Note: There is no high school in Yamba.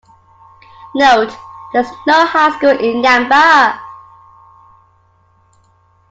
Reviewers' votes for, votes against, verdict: 2, 0, accepted